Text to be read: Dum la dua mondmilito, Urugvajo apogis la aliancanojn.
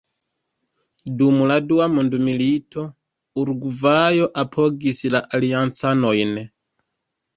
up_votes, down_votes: 0, 2